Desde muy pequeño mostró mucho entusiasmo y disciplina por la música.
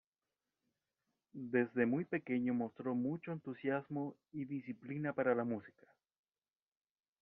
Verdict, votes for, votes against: rejected, 1, 2